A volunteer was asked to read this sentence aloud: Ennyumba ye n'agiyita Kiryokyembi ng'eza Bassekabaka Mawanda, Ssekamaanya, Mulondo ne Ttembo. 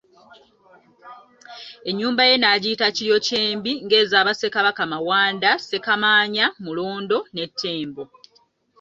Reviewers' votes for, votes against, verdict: 3, 0, accepted